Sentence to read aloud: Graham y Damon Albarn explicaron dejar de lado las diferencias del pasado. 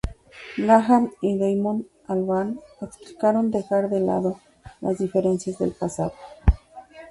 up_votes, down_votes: 2, 2